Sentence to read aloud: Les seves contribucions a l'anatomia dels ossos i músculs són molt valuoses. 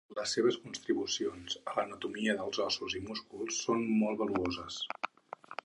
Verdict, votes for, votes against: rejected, 0, 4